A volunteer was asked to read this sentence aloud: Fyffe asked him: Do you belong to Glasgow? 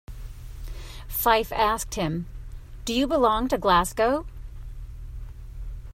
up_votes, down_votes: 2, 0